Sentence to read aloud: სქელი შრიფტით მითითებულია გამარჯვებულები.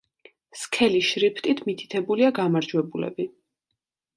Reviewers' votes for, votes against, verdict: 2, 0, accepted